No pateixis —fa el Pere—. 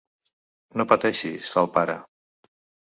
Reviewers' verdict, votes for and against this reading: rejected, 1, 2